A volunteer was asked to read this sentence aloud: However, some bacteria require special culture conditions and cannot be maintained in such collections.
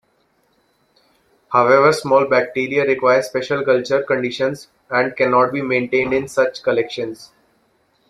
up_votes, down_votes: 0, 2